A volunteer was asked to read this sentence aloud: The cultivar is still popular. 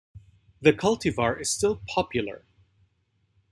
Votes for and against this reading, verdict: 2, 0, accepted